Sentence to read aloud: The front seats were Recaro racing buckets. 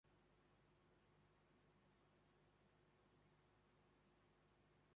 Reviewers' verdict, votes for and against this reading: rejected, 0, 2